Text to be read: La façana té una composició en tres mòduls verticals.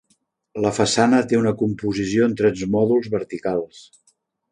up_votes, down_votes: 1, 2